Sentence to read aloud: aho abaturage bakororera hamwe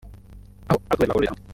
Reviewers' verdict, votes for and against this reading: rejected, 0, 2